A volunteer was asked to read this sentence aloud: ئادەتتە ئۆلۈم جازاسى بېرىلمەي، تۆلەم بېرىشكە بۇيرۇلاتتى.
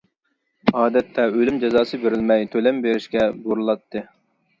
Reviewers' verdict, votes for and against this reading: accepted, 2, 0